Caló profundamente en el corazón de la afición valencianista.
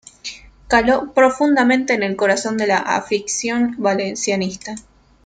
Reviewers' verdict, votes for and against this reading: accepted, 2, 0